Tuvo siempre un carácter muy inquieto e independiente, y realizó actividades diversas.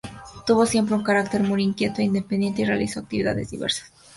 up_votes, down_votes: 2, 0